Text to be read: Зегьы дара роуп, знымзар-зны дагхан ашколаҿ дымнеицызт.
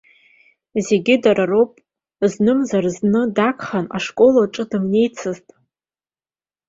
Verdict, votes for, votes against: accepted, 2, 0